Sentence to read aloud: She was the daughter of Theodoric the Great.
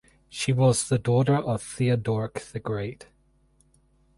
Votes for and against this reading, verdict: 4, 2, accepted